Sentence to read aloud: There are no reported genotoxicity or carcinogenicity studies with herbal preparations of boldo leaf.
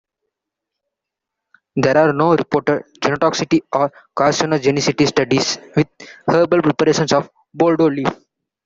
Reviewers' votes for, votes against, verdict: 1, 2, rejected